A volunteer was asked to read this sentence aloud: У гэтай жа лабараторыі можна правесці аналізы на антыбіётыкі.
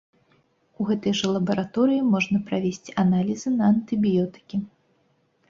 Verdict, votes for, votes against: accepted, 2, 0